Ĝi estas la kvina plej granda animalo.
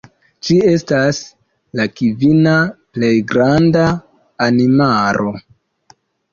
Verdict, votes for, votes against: accepted, 2, 1